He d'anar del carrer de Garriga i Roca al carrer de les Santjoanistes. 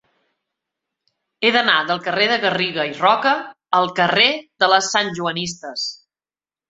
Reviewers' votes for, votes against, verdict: 2, 0, accepted